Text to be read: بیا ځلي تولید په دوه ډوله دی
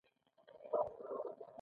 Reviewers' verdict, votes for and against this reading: rejected, 1, 2